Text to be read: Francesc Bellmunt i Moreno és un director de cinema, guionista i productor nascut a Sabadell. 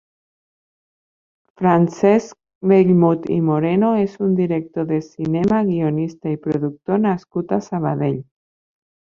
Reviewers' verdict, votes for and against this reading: accepted, 2, 1